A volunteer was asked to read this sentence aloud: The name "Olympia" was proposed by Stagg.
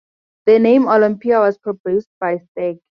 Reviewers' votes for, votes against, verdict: 4, 0, accepted